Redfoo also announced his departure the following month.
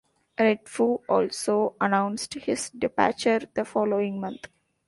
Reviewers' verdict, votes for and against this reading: accepted, 2, 0